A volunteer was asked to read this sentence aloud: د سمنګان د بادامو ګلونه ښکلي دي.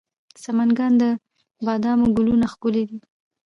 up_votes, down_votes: 0, 2